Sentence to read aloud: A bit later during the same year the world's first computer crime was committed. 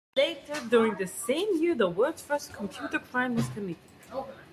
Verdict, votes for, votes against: accepted, 2, 1